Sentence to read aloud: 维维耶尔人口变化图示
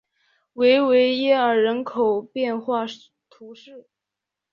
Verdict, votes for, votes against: accepted, 2, 0